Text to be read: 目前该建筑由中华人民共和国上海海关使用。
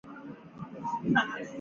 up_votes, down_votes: 2, 3